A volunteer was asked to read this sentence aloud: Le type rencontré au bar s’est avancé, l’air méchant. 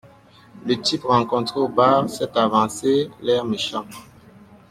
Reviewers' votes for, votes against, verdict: 2, 0, accepted